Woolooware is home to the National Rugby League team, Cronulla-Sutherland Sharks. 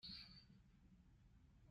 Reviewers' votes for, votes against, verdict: 0, 2, rejected